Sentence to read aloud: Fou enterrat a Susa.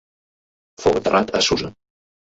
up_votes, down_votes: 0, 2